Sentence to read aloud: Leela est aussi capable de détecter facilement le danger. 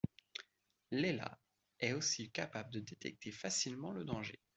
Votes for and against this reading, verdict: 2, 0, accepted